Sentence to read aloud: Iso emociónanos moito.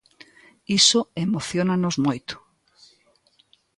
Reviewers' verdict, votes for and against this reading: accepted, 2, 0